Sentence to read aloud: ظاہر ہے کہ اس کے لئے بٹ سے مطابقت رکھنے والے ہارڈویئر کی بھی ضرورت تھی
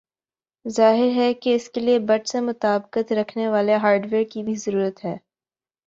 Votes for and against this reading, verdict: 2, 0, accepted